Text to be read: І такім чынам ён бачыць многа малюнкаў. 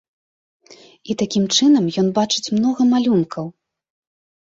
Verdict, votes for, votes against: accepted, 3, 0